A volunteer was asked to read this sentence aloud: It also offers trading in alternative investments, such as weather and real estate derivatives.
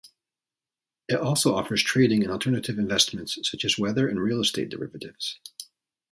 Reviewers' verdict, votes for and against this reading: accepted, 2, 0